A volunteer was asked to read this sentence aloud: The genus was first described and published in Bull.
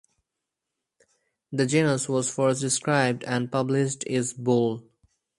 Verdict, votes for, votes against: rejected, 2, 2